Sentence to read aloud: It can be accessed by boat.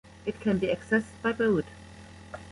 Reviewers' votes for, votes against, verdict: 1, 2, rejected